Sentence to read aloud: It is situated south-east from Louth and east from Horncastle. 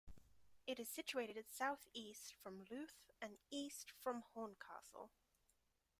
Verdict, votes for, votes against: rejected, 1, 2